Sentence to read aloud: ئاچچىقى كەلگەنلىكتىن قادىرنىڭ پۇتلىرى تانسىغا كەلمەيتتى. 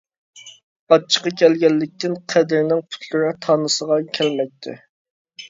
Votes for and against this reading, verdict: 0, 2, rejected